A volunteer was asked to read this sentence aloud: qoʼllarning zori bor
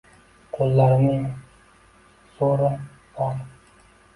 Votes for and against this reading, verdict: 1, 2, rejected